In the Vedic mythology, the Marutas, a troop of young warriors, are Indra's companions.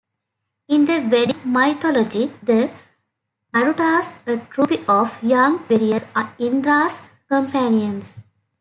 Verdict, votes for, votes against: rejected, 0, 2